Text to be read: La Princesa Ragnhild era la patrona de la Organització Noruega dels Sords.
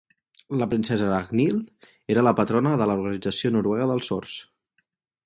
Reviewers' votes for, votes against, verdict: 4, 0, accepted